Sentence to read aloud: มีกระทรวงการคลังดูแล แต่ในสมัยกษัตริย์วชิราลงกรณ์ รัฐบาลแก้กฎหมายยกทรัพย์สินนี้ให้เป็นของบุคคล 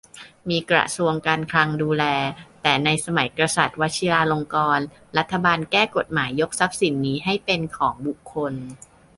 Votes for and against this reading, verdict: 3, 0, accepted